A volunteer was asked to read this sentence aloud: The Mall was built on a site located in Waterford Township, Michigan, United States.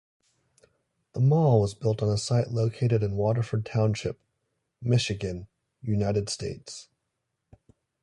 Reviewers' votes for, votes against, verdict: 2, 1, accepted